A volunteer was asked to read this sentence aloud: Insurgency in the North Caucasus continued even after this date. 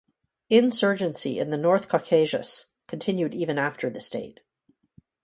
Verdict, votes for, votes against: rejected, 2, 2